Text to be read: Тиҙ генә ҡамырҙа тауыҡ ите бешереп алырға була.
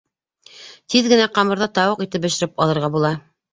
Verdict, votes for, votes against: accepted, 2, 0